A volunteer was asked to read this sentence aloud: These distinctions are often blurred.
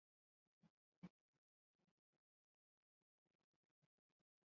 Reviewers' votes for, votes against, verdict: 0, 2, rejected